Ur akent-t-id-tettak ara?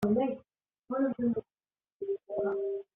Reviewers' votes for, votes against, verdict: 0, 2, rejected